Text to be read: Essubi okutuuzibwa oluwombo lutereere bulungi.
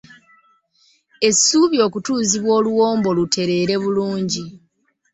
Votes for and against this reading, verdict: 1, 2, rejected